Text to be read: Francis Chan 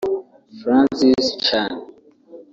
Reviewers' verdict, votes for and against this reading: rejected, 1, 2